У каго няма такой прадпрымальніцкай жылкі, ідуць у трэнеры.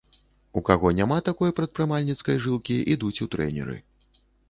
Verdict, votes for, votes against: accepted, 2, 0